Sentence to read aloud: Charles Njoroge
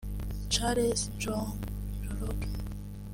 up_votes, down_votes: 2, 1